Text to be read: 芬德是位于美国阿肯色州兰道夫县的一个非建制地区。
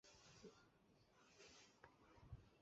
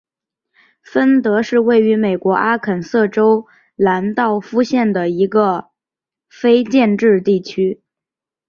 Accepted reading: second